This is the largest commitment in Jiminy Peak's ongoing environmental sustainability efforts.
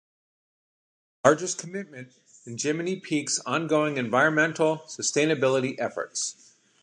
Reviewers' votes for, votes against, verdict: 1, 2, rejected